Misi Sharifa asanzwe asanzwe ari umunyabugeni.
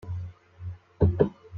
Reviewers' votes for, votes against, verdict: 2, 1, accepted